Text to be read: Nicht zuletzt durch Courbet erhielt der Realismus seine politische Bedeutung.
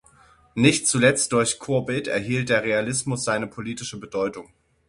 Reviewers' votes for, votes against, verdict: 0, 6, rejected